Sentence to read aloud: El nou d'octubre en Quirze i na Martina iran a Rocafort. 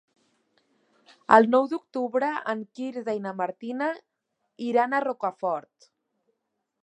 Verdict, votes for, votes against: accepted, 2, 1